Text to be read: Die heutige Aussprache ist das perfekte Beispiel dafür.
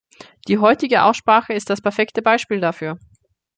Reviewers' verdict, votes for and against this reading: accepted, 2, 0